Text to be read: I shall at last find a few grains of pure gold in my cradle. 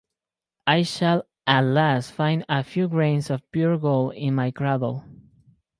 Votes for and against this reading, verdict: 4, 0, accepted